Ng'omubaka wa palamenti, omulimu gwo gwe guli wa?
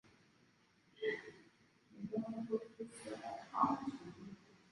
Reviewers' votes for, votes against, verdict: 0, 2, rejected